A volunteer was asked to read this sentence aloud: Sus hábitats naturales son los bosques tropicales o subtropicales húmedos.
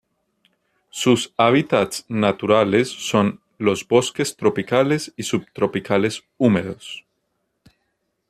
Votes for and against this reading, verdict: 0, 2, rejected